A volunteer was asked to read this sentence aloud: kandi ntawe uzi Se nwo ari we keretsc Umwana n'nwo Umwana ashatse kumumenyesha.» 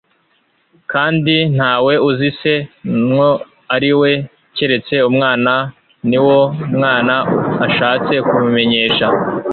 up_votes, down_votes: 1, 2